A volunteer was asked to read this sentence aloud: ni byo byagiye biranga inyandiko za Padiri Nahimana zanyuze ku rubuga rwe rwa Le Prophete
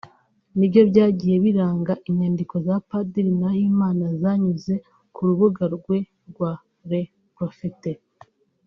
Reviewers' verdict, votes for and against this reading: rejected, 0, 2